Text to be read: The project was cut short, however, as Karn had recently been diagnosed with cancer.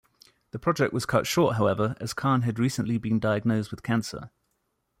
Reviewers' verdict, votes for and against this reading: accepted, 2, 0